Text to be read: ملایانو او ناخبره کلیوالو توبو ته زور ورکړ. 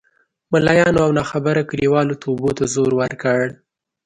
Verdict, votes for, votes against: accepted, 2, 0